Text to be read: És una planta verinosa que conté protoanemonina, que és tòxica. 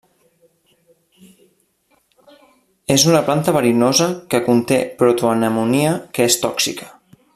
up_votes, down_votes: 0, 2